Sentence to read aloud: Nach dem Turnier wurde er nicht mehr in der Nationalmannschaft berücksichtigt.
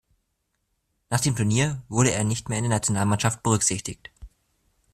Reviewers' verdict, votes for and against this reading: accepted, 2, 0